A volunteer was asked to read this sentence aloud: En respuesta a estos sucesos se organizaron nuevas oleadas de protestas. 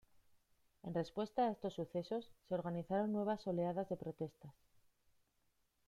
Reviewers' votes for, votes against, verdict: 1, 2, rejected